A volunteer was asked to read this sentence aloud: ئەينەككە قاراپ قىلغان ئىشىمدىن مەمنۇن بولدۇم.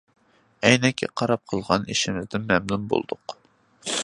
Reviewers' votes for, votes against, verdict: 0, 2, rejected